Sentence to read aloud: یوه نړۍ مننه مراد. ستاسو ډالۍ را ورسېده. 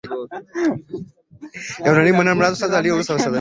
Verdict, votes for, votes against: rejected, 0, 2